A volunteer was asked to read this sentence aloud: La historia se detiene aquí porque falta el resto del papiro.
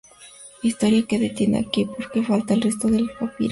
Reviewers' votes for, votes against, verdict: 2, 4, rejected